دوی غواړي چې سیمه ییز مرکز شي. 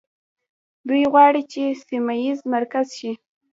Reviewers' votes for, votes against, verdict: 0, 2, rejected